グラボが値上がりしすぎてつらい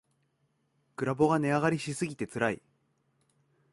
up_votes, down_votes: 2, 0